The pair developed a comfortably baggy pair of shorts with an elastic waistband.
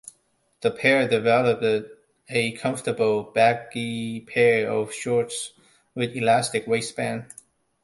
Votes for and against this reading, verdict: 1, 2, rejected